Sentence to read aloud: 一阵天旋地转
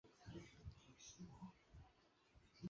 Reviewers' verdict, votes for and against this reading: accepted, 3, 2